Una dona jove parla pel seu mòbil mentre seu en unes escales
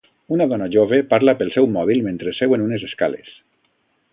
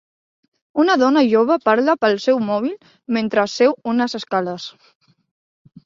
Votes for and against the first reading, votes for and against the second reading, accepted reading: 2, 0, 1, 2, first